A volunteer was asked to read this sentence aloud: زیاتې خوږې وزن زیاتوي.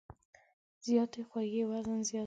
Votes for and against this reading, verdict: 1, 2, rejected